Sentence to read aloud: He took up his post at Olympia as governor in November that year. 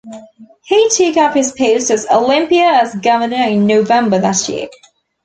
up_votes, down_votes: 2, 0